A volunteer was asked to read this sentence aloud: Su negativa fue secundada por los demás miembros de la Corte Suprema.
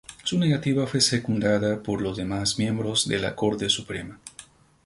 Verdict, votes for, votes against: rejected, 0, 2